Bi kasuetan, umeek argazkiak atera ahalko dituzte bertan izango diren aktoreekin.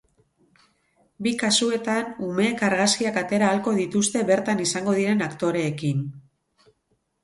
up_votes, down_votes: 2, 2